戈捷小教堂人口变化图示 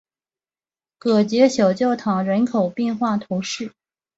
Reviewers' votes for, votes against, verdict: 2, 0, accepted